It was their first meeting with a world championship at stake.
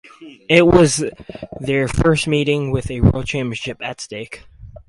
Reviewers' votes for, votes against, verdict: 2, 0, accepted